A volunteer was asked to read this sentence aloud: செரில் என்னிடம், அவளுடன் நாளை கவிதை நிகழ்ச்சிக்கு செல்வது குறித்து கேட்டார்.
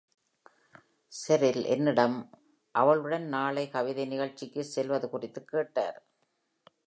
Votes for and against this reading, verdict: 2, 0, accepted